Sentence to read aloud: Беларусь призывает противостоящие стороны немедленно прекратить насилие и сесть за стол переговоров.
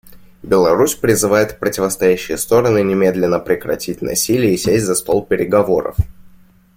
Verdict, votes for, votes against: accepted, 2, 0